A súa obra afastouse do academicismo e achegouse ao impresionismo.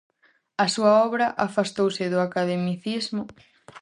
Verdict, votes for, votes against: rejected, 0, 2